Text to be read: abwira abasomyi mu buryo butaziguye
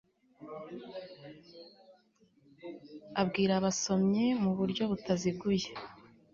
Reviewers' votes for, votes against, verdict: 2, 0, accepted